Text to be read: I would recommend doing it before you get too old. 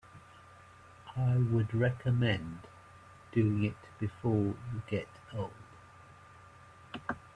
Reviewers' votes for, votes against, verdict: 0, 2, rejected